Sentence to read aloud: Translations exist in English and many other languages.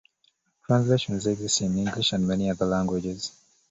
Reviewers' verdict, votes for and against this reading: accepted, 2, 1